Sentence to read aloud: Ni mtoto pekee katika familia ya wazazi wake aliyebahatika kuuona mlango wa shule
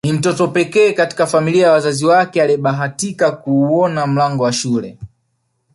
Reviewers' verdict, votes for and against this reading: accepted, 2, 0